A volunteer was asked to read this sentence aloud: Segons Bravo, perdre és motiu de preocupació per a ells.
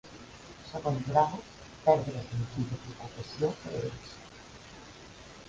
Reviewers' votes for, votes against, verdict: 1, 2, rejected